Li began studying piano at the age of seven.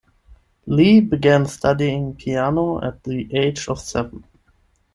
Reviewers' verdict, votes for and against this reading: accepted, 10, 0